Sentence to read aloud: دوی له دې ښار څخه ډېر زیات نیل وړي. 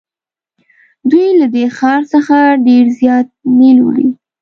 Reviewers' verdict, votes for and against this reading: accepted, 2, 0